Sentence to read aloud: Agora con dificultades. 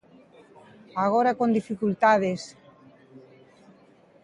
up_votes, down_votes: 2, 0